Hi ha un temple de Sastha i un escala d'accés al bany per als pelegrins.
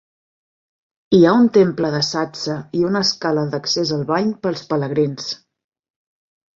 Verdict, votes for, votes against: rejected, 1, 2